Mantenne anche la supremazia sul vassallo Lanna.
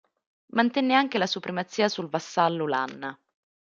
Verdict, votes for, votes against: accepted, 3, 0